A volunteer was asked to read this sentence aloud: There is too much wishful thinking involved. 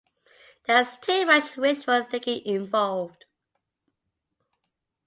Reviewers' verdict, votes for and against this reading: accepted, 2, 1